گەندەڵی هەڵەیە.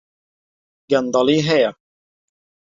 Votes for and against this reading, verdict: 0, 2, rejected